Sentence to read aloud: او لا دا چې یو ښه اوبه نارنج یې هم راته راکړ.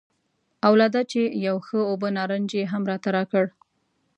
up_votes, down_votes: 2, 0